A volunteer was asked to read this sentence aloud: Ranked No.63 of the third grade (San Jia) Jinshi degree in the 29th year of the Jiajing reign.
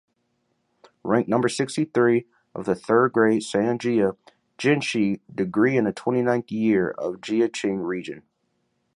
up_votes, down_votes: 0, 2